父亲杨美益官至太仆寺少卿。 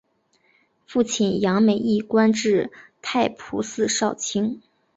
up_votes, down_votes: 3, 2